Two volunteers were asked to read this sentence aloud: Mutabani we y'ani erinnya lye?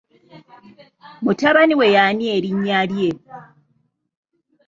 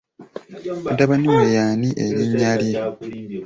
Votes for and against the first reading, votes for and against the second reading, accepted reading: 2, 0, 0, 2, first